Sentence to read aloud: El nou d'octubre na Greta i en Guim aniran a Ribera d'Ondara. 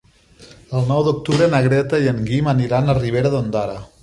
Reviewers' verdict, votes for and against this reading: accepted, 3, 0